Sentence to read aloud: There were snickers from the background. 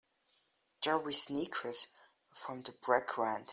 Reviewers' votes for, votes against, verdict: 0, 2, rejected